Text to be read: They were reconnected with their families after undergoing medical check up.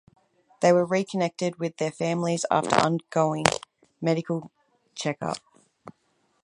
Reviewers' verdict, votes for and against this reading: accepted, 4, 2